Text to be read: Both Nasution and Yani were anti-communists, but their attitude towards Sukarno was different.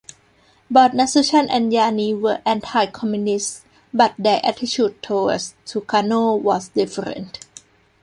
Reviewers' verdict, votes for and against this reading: accepted, 2, 0